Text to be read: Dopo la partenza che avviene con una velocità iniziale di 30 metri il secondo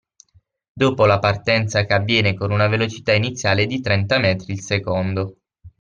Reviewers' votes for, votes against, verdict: 0, 2, rejected